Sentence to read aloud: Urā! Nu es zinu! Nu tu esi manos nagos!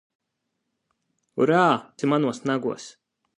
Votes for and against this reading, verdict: 0, 2, rejected